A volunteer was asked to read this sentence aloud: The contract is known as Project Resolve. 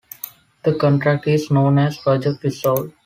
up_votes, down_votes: 2, 0